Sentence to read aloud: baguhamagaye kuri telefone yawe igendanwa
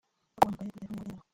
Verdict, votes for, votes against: rejected, 0, 2